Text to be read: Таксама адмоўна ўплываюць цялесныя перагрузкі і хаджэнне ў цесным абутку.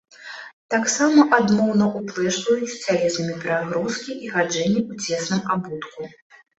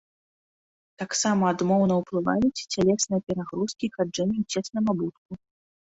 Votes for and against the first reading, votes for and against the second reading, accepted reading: 0, 2, 2, 1, second